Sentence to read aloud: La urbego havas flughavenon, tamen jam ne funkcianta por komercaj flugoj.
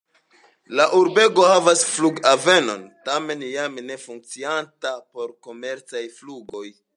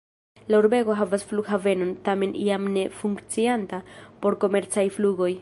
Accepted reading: first